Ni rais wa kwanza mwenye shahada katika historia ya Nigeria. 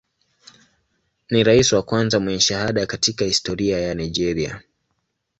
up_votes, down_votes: 2, 0